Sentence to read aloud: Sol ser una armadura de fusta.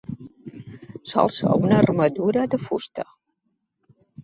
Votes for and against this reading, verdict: 2, 0, accepted